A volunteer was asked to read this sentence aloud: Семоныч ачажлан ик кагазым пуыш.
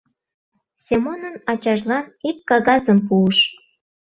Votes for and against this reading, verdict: 1, 2, rejected